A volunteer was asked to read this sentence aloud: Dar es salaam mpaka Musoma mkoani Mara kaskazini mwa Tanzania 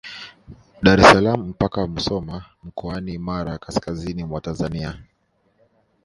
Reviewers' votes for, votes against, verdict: 1, 2, rejected